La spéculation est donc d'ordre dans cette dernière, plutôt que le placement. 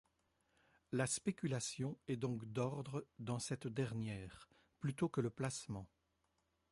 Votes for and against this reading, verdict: 2, 0, accepted